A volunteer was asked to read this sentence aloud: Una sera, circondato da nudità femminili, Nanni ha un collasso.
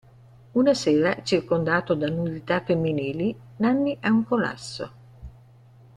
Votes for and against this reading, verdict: 2, 1, accepted